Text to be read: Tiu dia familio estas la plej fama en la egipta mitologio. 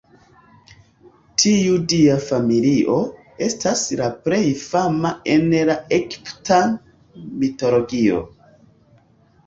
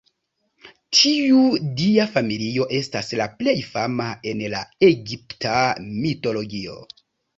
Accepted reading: second